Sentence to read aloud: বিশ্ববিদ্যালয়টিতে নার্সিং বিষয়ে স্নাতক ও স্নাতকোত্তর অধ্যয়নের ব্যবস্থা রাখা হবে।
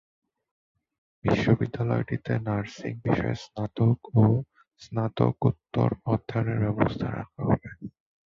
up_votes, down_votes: 2, 2